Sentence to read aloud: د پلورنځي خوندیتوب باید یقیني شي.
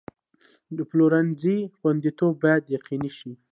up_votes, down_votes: 2, 0